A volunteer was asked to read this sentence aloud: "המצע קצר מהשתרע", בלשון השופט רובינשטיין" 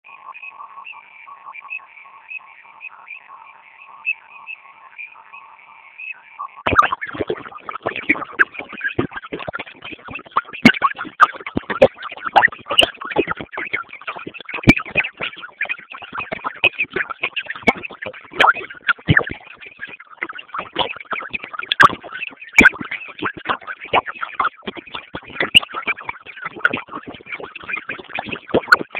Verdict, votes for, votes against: rejected, 0, 2